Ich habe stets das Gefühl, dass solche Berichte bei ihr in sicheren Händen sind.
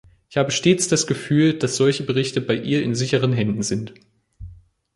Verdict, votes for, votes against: accepted, 2, 1